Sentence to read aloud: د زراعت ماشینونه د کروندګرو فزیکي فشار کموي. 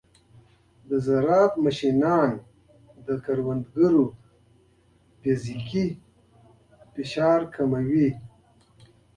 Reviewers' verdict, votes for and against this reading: accepted, 2, 0